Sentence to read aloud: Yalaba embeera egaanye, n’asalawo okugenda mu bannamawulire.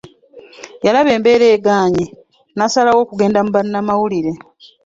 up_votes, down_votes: 2, 0